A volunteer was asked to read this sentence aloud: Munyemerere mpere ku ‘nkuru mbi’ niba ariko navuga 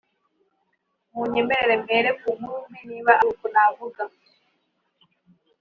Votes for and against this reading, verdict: 2, 0, accepted